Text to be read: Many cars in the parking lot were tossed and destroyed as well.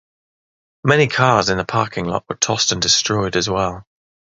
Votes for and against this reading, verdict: 3, 0, accepted